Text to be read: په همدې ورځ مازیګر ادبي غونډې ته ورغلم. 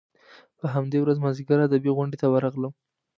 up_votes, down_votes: 2, 0